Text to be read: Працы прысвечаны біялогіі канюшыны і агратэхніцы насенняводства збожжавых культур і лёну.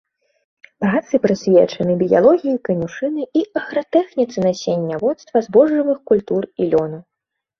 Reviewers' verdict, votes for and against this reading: rejected, 1, 2